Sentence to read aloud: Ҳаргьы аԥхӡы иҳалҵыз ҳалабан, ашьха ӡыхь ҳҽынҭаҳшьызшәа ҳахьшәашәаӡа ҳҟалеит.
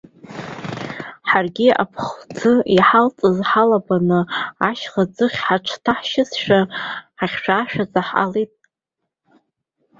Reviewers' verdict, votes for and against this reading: rejected, 0, 2